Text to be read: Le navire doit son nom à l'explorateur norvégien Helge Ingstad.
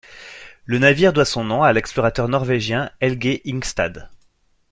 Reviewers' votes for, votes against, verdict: 2, 0, accepted